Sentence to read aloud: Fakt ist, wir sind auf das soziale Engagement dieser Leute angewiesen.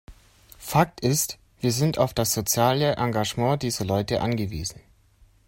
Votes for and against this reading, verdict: 3, 0, accepted